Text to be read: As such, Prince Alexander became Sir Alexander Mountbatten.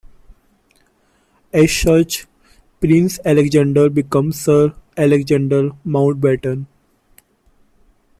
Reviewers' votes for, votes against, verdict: 0, 2, rejected